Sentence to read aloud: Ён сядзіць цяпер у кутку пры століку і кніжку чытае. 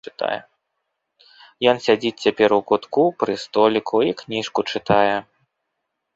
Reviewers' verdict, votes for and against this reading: rejected, 2, 3